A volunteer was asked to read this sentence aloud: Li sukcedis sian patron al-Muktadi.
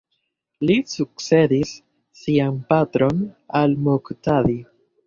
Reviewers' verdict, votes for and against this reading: accepted, 2, 0